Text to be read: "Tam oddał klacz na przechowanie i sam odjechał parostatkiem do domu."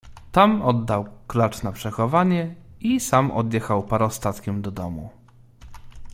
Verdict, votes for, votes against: accepted, 2, 0